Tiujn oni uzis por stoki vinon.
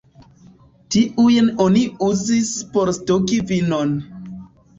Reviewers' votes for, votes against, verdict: 0, 2, rejected